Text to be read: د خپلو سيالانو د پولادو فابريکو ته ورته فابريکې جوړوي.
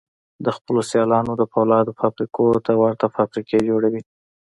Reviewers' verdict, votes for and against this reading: accepted, 3, 1